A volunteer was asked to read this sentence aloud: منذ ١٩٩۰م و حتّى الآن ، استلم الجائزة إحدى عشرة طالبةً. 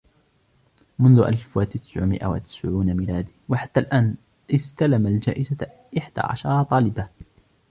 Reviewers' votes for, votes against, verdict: 0, 2, rejected